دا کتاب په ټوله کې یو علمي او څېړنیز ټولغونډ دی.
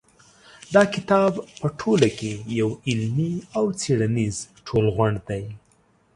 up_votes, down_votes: 2, 0